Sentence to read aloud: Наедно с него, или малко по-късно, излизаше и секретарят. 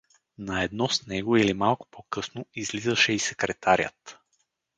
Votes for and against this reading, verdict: 4, 0, accepted